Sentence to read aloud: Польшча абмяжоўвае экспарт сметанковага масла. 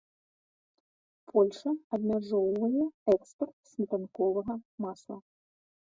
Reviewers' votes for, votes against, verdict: 1, 2, rejected